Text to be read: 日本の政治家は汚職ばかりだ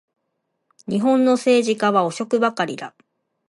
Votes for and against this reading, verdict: 2, 0, accepted